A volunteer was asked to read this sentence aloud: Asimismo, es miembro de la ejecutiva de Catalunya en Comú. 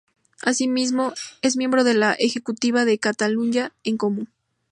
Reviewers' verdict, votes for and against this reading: accepted, 2, 0